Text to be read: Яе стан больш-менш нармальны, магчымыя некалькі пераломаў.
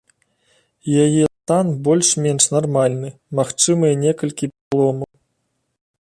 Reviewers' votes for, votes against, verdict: 2, 3, rejected